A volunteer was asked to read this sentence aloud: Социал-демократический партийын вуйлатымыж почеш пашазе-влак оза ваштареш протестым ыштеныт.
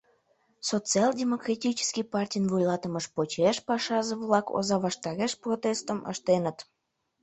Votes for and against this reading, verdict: 1, 2, rejected